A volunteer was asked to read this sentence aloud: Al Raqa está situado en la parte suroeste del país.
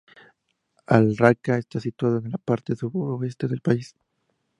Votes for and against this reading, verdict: 4, 0, accepted